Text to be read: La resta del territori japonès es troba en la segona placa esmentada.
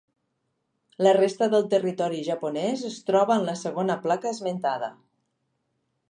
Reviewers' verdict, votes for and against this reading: accepted, 2, 0